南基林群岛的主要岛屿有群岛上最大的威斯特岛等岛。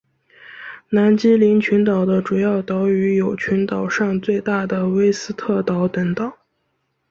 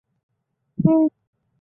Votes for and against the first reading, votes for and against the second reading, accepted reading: 5, 0, 1, 2, first